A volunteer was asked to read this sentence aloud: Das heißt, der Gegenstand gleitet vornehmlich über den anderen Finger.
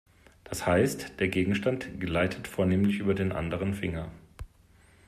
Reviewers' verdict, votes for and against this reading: accepted, 2, 0